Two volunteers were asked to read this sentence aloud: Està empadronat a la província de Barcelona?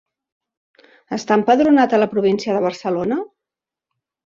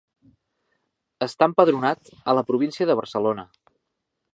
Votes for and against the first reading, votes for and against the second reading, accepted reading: 4, 0, 0, 2, first